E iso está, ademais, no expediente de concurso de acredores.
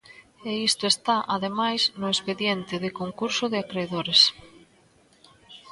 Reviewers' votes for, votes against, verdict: 1, 2, rejected